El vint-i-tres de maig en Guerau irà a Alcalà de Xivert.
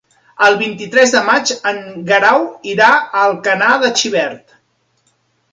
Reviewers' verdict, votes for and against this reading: accepted, 2, 0